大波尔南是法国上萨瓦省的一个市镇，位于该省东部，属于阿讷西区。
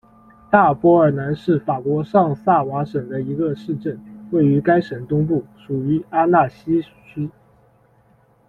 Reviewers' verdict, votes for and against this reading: accepted, 2, 1